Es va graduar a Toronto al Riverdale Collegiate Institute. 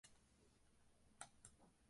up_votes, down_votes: 0, 2